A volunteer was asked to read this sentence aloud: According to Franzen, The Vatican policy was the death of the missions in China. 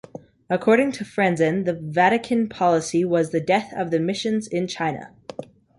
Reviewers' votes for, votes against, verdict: 2, 0, accepted